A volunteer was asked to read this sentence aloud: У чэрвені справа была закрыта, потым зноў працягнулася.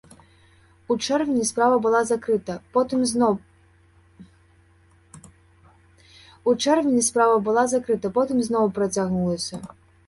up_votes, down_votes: 0, 3